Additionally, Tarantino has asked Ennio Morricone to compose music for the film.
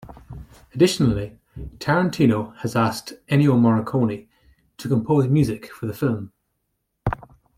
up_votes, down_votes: 2, 0